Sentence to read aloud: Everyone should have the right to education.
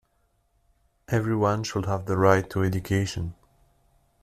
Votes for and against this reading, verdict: 2, 0, accepted